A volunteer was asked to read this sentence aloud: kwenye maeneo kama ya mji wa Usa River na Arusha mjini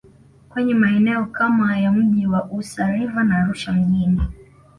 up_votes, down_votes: 2, 0